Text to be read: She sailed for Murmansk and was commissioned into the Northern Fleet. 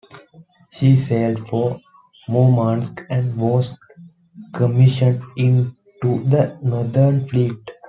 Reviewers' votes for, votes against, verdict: 2, 0, accepted